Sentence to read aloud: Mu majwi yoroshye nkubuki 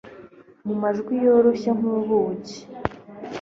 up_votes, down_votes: 2, 0